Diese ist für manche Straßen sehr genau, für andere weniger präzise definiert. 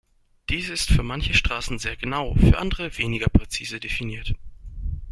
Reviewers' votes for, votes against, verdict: 2, 0, accepted